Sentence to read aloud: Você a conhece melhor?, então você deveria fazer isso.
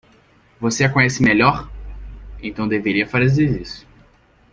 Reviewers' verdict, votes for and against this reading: rejected, 0, 2